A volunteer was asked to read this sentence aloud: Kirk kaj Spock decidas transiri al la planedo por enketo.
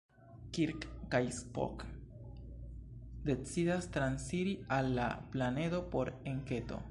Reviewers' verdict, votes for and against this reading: rejected, 2, 3